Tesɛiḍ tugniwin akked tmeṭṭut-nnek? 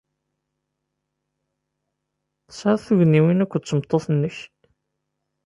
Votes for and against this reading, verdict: 2, 0, accepted